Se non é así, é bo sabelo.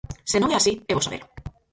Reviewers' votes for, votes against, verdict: 0, 4, rejected